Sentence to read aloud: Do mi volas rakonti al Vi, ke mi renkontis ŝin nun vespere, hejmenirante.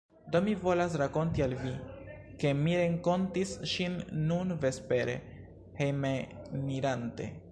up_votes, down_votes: 1, 2